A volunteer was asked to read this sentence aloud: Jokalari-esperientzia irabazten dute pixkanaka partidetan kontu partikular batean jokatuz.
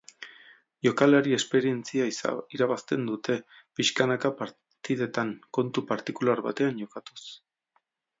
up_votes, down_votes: 0, 2